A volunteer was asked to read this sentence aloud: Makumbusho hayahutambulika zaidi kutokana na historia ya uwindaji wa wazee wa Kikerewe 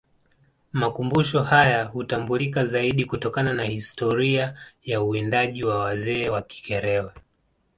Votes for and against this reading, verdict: 3, 0, accepted